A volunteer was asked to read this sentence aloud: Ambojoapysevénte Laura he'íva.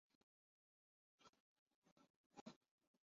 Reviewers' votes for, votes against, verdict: 0, 2, rejected